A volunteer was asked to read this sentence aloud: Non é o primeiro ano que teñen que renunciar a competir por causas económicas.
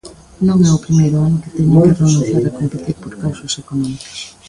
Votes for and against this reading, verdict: 0, 2, rejected